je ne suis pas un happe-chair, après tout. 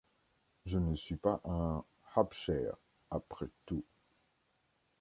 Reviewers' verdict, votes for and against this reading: accepted, 2, 0